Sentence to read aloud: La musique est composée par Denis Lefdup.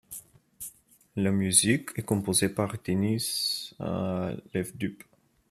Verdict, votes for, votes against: rejected, 0, 2